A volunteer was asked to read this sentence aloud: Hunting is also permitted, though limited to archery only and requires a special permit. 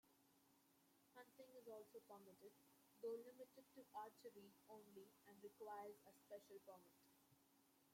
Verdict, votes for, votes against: rejected, 0, 2